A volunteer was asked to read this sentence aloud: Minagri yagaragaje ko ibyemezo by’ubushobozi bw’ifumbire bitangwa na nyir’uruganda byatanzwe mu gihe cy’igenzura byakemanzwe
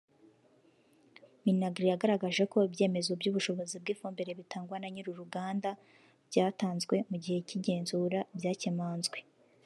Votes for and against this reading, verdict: 2, 0, accepted